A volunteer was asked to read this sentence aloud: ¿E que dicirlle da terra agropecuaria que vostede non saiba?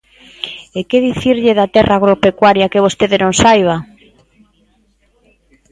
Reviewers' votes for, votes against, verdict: 2, 0, accepted